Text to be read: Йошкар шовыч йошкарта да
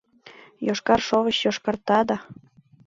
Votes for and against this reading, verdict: 2, 0, accepted